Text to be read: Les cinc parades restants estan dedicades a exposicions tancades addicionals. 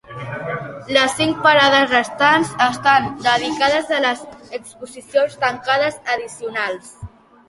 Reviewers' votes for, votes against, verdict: 0, 2, rejected